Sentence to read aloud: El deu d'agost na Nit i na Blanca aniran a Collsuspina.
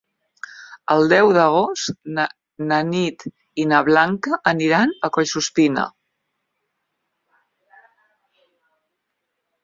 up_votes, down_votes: 1, 3